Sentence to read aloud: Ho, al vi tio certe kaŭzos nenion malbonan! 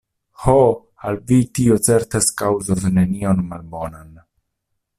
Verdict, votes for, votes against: rejected, 1, 2